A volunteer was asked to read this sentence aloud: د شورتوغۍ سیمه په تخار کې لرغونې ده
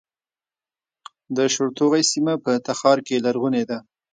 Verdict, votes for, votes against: rejected, 1, 2